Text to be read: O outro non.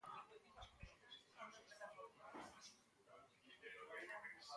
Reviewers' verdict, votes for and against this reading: rejected, 0, 6